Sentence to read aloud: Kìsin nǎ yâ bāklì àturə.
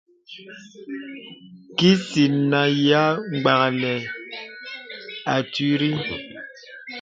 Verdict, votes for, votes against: rejected, 0, 2